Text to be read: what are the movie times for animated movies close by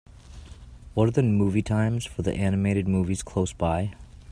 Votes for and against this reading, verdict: 2, 1, accepted